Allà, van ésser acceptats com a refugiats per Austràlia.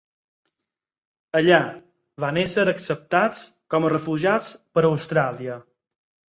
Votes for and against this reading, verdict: 4, 0, accepted